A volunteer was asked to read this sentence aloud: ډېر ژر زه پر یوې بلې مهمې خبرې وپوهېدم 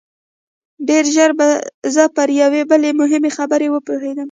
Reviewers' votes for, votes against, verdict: 0, 2, rejected